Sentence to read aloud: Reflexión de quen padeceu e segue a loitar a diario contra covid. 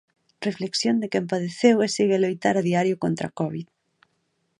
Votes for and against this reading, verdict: 2, 0, accepted